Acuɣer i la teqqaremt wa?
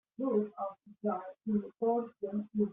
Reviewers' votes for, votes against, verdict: 0, 2, rejected